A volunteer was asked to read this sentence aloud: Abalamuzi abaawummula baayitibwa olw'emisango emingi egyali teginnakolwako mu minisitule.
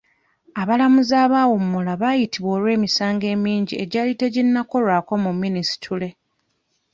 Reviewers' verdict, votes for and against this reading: accepted, 2, 0